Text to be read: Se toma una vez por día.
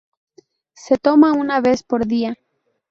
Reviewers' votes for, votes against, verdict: 2, 0, accepted